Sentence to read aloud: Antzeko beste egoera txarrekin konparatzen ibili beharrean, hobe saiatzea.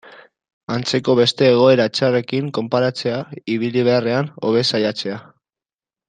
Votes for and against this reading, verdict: 0, 2, rejected